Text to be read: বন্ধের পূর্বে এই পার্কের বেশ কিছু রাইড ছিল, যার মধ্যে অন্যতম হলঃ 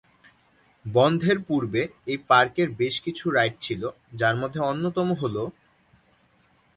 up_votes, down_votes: 2, 0